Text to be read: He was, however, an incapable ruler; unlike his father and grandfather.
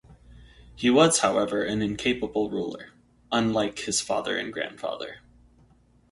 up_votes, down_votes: 4, 0